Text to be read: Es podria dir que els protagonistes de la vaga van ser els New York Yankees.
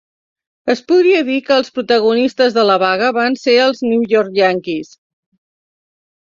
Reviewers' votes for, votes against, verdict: 2, 0, accepted